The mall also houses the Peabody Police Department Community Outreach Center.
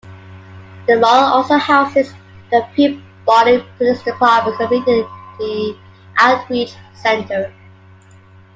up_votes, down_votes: 0, 2